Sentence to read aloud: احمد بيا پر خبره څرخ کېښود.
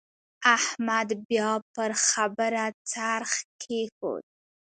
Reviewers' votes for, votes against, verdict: 2, 0, accepted